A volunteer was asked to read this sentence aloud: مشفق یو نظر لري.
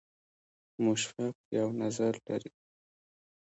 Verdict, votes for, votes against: accepted, 2, 1